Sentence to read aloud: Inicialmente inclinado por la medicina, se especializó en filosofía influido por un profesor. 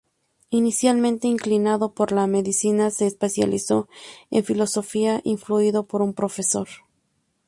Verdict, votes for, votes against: accepted, 2, 0